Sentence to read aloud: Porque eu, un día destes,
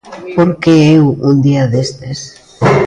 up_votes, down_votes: 0, 2